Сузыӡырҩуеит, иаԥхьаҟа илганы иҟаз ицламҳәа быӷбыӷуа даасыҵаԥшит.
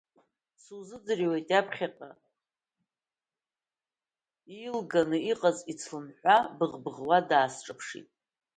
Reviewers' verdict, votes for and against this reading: rejected, 0, 2